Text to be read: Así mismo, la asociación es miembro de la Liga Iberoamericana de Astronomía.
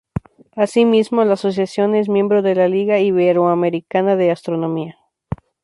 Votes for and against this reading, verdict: 2, 0, accepted